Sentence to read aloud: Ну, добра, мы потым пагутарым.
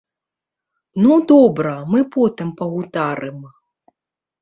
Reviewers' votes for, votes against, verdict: 0, 2, rejected